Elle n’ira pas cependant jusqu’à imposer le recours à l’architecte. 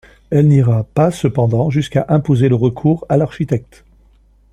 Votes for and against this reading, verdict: 2, 0, accepted